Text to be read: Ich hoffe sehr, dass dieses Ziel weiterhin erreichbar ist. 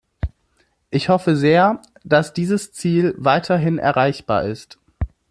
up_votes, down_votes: 2, 0